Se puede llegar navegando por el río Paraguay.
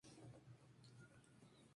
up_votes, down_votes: 0, 2